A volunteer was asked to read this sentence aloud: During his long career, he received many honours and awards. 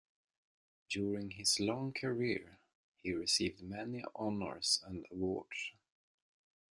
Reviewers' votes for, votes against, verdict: 1, 2, rejected